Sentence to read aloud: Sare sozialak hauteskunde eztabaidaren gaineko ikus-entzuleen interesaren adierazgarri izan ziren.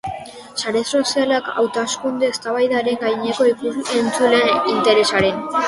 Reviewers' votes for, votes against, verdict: 0, 3, rejected